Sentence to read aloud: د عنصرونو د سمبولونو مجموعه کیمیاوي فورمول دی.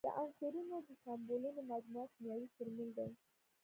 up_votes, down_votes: 0, 2